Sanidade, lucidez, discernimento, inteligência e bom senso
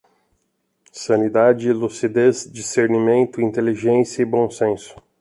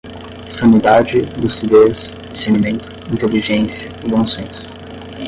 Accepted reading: first